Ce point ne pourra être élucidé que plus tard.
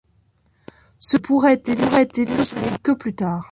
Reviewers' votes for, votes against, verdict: 0, 2, rejected